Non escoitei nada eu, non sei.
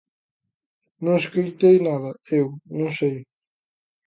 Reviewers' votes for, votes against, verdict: 2, 0, accepted